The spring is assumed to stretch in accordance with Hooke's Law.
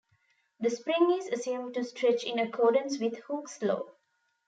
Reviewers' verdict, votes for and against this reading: accepted, 2, 0